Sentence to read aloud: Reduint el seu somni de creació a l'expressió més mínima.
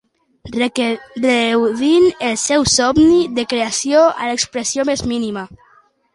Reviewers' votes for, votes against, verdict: 0, 2, rejected